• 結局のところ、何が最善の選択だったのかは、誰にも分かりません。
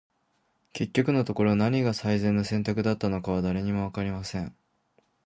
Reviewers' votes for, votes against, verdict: 2, 0, accepted